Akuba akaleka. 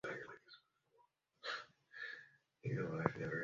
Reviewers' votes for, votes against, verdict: 0, 2, rejected